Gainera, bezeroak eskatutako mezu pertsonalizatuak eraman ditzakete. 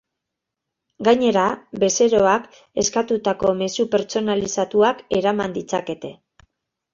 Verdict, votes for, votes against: accepted, 2, 0